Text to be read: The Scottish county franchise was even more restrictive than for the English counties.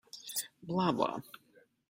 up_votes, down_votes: 0, 2